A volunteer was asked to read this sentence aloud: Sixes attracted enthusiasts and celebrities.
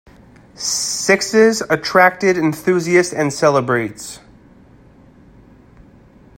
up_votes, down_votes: 1, 2